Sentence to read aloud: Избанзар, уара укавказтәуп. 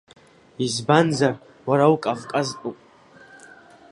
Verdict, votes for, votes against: accepted, 2, 1